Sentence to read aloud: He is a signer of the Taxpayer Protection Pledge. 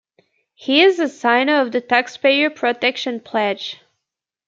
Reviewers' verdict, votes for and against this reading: accepted, 2, 0